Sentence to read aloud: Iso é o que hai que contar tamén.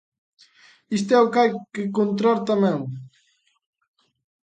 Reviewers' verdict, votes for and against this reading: rejected, 0, 2